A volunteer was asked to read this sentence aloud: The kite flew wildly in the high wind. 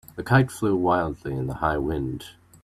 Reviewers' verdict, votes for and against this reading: accepted, 2, 0